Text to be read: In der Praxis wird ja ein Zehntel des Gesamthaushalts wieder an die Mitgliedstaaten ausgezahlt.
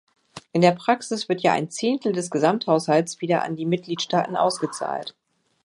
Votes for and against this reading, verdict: 2, 0, accepted